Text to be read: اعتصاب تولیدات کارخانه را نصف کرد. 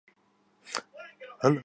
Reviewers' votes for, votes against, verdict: 0, 2, rejected